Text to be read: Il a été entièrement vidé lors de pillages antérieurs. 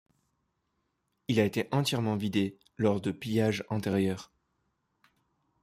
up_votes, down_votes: 2, 0